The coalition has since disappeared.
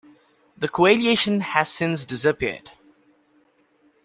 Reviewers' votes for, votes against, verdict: 0, 2, rejected